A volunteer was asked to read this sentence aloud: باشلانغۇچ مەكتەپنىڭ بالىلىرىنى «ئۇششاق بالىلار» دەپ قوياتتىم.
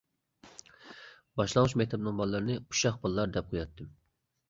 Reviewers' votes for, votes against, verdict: 2, 0, accepted